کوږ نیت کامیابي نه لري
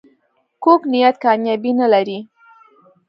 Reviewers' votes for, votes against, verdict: 2, 1, accepted